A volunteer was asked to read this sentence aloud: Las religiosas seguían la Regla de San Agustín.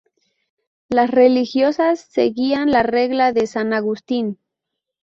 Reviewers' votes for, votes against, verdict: 2, 0, accepted